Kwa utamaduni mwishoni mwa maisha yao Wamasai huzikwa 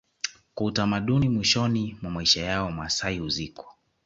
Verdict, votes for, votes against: rejected, 1, 2